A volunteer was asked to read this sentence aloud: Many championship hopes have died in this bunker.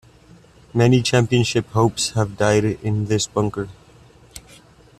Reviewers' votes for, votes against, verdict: 2, 0, accepted